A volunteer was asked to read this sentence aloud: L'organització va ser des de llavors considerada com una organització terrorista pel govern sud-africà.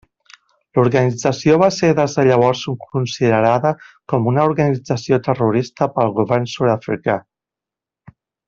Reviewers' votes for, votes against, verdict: 1, 2, rejected